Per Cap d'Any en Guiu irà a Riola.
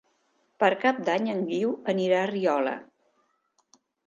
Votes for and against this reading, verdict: 1, 2, rejected